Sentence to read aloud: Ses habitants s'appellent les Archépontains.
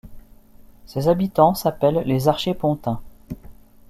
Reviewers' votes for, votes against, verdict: 2, 0, accepted